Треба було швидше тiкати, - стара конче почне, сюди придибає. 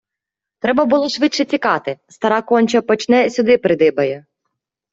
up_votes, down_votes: 2, 0